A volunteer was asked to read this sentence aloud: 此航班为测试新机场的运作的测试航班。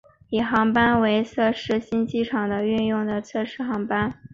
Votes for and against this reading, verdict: 0, 2, rejected